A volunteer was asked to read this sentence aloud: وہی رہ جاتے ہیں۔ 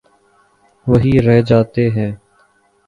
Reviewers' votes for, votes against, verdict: 2, 1, accepted